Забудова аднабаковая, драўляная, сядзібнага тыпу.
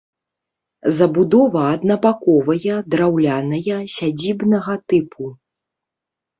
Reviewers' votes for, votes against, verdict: 2, 0, accepted